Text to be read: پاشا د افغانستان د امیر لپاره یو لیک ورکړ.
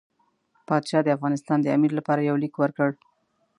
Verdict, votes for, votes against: accepted, 2, 0